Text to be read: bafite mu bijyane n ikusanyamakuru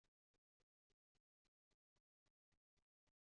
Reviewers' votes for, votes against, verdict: 0, 2, rejected